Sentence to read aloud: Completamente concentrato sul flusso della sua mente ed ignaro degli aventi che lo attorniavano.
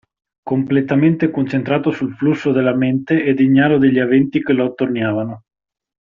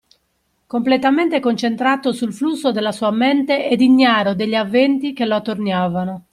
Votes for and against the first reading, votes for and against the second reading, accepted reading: 0, 2, 2, 1, second